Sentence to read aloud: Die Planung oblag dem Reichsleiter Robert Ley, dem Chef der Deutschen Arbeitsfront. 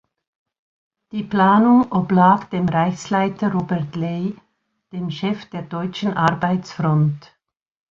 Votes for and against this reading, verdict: 2, 0, accepted